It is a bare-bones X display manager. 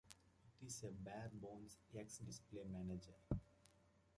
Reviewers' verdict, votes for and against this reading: rejected, 0, 2